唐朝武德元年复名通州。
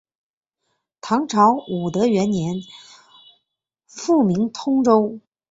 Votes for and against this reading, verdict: 4, 0, accepted